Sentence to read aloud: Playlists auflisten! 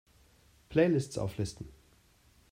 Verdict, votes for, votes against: accepted, 3, 1